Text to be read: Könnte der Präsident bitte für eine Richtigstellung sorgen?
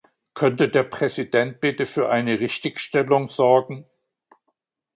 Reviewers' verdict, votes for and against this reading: accepted, 3, 0